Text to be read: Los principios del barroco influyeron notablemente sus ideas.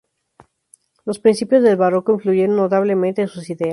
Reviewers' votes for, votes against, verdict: 0, 2, rejected